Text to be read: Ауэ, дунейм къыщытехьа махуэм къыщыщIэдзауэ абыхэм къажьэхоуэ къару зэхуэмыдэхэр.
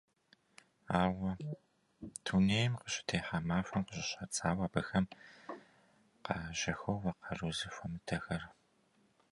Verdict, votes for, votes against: rejected, 0, 2